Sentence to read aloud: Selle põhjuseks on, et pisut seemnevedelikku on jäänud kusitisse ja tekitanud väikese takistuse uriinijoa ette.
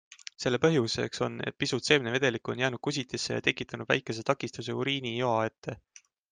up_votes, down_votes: 2, 0